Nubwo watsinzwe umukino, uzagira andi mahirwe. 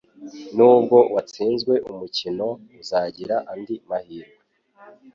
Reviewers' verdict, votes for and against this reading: accepted, 2, 0